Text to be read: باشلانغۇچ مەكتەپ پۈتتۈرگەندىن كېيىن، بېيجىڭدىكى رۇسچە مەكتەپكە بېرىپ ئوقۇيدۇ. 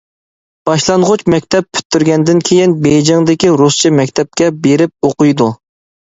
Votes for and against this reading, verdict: 2, 0, accepted